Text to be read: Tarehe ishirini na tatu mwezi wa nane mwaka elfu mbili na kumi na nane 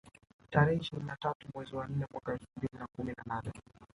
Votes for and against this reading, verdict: 1, 2, rejected